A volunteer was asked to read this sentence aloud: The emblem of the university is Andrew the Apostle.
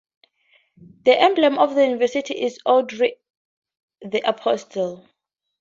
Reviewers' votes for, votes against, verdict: 2, 0, accepted